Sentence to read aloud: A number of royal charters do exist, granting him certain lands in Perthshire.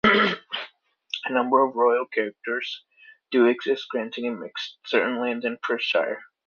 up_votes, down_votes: 0, 2